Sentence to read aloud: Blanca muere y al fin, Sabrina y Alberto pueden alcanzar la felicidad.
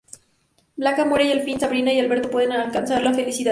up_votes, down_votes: 2, 0